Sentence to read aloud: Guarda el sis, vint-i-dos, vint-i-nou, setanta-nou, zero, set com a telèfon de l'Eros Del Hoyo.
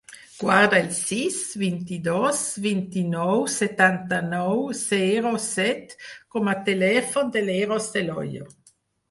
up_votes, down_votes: 4, 0